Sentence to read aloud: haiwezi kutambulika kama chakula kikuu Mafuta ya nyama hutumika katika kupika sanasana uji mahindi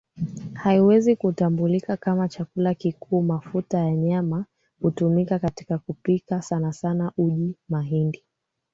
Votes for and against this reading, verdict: 1, 2, rejected